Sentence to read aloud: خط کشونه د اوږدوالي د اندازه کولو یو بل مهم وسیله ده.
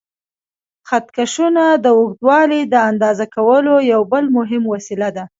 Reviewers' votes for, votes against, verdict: 2, 0, accepted